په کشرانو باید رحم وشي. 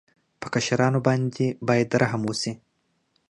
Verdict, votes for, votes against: rejected, 1, 2